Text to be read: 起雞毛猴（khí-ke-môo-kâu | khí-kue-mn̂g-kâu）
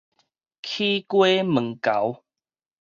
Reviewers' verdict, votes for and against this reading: rejected, 2, 2